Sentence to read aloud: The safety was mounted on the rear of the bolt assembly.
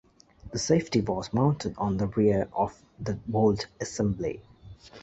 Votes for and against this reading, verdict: 2, 0, accepted